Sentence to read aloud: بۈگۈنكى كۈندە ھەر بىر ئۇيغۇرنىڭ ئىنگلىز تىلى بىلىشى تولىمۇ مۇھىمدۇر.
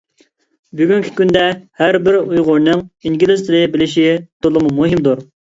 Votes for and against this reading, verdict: 2, 0, accepted